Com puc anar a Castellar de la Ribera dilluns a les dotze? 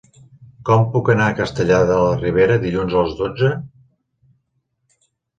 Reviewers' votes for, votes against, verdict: 2, 0, accepted